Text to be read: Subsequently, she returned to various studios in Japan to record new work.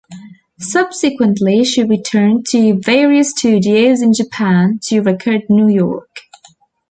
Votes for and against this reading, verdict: 1, 2, rejected